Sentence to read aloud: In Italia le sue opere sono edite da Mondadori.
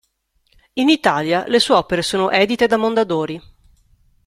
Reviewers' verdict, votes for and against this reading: accepted, 2, 0